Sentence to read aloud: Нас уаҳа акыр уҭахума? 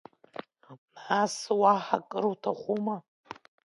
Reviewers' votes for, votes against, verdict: 2, 0, accepted